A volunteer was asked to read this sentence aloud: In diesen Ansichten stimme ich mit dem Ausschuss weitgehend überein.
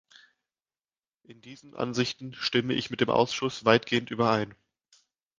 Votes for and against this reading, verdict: 2, 0, accepted